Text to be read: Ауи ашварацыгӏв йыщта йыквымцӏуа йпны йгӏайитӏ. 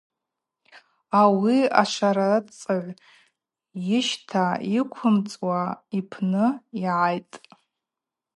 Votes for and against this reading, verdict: 0, 2, rejected